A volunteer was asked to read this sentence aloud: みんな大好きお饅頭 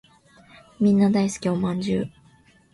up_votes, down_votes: 2, 0